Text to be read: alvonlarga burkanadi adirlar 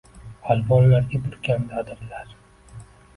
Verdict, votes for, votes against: rejected, 1, 3